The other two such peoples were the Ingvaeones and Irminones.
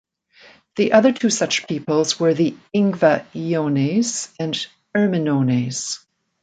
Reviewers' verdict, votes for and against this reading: rejected, 0, 2